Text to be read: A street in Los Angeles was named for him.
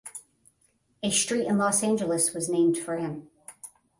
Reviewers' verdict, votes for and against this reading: accepted, 10, 0